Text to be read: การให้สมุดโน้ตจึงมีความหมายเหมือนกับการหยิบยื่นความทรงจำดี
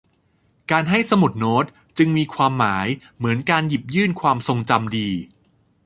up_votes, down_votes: 0, 2